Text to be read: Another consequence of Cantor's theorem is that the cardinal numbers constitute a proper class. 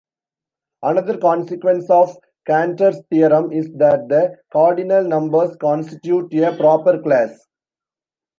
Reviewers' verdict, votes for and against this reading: accepted, 2, 0